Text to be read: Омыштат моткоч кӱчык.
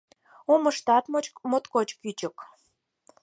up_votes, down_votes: 2, 4